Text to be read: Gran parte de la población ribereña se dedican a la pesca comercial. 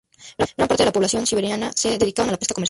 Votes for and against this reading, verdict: 0, 4, rejected